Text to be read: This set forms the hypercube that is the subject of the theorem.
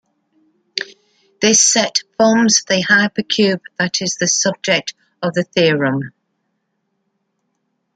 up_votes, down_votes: 2, 0